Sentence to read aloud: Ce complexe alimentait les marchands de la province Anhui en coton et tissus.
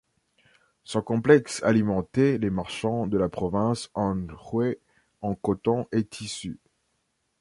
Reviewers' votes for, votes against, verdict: 0, 2, rejected